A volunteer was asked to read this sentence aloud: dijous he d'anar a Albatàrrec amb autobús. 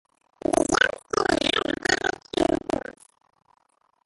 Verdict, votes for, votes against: rejected, 0, 2